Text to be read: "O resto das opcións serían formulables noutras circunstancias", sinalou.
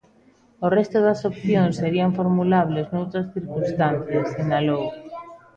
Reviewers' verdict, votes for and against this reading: rejected, 1, 2